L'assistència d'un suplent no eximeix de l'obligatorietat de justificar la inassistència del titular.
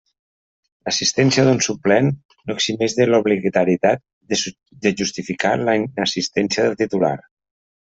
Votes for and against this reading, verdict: 0, 2, rejected